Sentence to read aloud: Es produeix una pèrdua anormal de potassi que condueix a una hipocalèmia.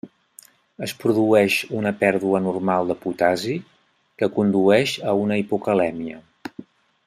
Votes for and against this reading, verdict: 1, 2, rejected